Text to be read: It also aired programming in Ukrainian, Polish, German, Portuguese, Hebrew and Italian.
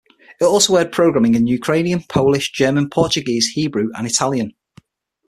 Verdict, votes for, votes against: accepted, 6, 0